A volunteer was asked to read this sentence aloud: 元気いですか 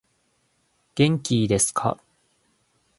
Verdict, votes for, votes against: accepted, 2, 0